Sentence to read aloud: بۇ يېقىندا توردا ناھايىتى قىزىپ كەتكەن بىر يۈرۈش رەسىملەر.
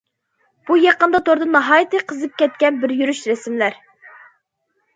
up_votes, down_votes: 2, 0